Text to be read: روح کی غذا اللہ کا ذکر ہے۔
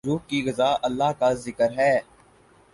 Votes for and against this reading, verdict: 4, 0, accepted